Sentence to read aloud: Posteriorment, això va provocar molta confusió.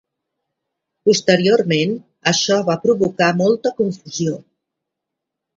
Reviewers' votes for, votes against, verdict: 2, 0, accepted